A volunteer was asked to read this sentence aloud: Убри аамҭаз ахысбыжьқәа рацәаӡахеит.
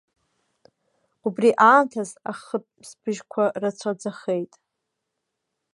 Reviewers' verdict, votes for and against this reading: rejected, 1, 2